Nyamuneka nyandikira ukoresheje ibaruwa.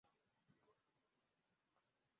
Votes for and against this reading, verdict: 0, 2, rejected